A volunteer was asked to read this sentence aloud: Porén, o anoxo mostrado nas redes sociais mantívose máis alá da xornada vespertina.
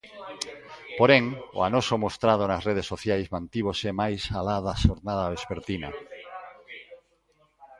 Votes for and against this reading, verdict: 2, 0, accepted